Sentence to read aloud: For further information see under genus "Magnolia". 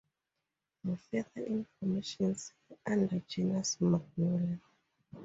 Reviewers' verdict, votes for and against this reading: rejected, 0, 2